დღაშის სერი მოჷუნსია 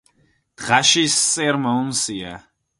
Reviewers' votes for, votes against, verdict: 0, 4, rejected